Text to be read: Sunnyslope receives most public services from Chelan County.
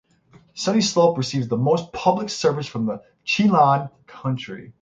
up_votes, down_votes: 0, 3